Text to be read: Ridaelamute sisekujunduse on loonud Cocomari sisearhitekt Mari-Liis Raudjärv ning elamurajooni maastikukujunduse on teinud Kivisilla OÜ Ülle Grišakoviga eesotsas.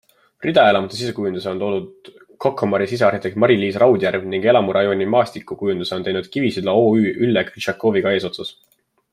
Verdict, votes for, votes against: accepted, 2, 0